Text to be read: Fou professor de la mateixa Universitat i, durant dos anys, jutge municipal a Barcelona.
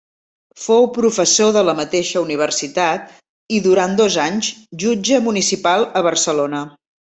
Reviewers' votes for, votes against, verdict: 3, 0, accepted